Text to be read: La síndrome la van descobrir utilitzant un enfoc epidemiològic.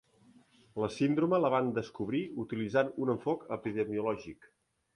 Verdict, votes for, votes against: accepted, 3, 0